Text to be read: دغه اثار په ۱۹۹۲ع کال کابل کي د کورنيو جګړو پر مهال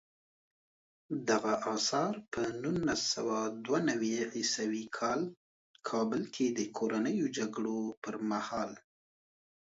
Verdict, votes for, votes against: rejected, 0, 2